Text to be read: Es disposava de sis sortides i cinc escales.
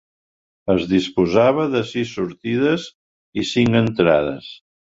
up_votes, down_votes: 1, 2